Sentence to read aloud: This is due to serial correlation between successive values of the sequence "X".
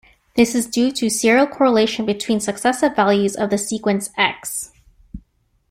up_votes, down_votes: 2, 0